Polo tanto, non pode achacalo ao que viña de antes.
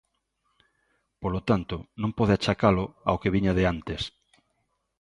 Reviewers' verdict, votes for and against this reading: accepted, 2, 0